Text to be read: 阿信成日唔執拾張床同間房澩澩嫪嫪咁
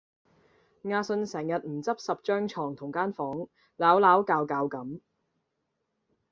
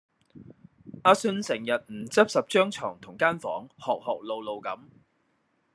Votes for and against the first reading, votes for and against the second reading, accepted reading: 2, 0, 0, 2, first